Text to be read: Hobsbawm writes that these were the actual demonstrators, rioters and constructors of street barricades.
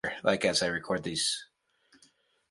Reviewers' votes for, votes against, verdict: 0, 2, rejected